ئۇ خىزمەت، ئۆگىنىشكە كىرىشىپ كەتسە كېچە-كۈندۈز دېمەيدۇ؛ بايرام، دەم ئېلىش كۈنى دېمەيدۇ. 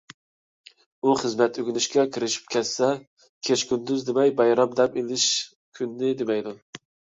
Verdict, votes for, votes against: rejected, 0, 2